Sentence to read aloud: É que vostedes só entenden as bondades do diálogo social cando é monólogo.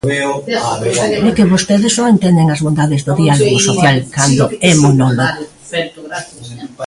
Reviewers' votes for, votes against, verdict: 0, 2, rejected